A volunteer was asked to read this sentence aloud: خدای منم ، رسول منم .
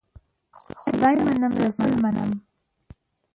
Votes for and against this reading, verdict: 2, 1, accepted